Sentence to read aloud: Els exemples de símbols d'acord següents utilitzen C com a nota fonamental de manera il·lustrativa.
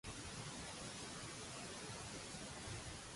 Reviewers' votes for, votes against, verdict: 0, 2, rejected